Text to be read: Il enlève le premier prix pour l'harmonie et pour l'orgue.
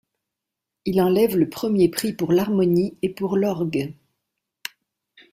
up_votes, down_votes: 2, 0